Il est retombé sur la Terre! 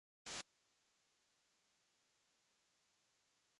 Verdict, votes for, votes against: rejected, 0, 2